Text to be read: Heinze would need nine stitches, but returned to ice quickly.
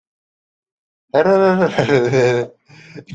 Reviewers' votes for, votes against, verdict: 0, 2, rejected